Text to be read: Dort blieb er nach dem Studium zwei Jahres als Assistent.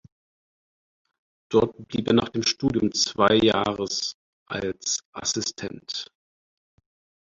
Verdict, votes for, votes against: rejected, 2, 4